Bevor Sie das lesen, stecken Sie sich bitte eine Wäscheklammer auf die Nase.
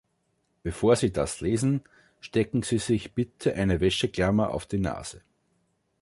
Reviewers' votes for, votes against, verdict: 1, 2, rejected